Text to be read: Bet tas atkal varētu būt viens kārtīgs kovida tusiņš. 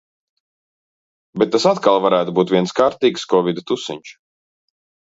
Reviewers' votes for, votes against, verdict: 2, 0, accepted